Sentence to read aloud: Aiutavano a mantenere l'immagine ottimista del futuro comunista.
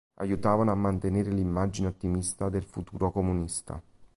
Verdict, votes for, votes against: accepted, 2, 0